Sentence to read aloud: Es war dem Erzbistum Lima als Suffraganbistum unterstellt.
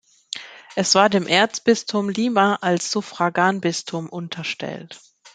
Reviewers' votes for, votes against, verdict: 2, 0, accepted